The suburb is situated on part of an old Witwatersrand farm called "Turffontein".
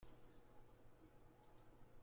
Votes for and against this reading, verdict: 0, 2, rejected